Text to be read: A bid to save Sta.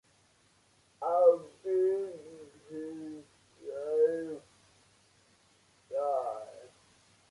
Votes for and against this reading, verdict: 1, 2, rejected